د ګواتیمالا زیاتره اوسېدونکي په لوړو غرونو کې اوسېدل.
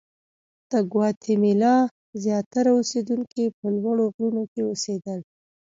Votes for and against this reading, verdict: 2, 0, accepted